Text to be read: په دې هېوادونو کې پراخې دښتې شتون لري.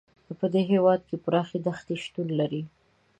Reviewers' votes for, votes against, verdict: 1, 2, rejected